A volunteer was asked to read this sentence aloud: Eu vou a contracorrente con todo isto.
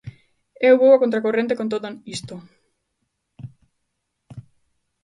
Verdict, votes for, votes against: rejected, 1, 2